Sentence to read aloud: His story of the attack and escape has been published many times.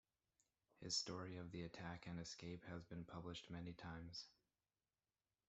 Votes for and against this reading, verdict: 0, 2, rejected